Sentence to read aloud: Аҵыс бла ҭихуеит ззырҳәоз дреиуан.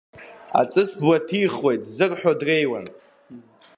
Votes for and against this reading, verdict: 0, 2, rejected